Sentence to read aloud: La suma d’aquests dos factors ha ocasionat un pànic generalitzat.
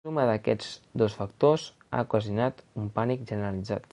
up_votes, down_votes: 1, 3